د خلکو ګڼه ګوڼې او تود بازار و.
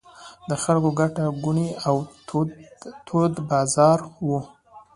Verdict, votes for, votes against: accepted, 2, 0